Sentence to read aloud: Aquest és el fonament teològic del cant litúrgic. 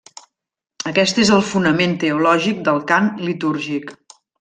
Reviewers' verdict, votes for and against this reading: rejected, 1, 2